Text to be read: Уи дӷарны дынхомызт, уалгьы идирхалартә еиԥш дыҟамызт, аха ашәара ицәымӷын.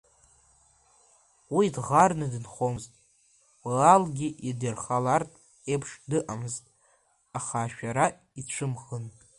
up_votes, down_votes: 1, 2